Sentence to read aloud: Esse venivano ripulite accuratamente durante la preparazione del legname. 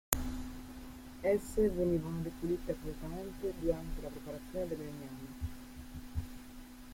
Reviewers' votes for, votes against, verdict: 0, 2, rejected